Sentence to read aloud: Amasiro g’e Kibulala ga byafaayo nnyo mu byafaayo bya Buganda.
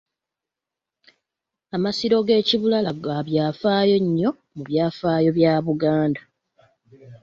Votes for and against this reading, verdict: 2, 1, accepted